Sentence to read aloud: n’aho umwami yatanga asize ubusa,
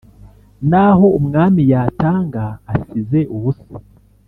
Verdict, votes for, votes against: accepted, 2, 0